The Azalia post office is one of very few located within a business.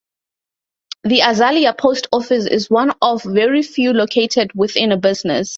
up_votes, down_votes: 2, 0